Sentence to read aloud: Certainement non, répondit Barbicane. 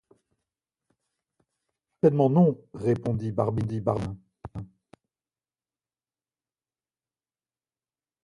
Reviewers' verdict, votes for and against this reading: rejected, 0, 2